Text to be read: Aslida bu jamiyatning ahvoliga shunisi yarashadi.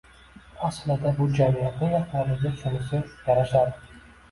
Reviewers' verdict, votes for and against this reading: rejected, 1, 2